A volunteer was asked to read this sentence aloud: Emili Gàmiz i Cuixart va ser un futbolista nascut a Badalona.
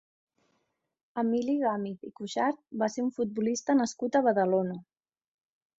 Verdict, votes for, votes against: accepted, 3, 0